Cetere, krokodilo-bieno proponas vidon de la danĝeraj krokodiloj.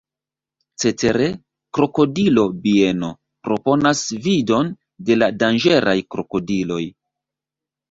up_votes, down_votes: 1, 2